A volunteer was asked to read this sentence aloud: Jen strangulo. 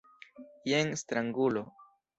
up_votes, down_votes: 2, 0